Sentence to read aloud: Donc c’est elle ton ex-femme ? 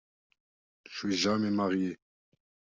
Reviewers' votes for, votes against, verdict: 0, 2, rejected